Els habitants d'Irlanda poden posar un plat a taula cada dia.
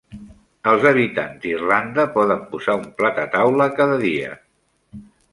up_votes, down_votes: 2, 0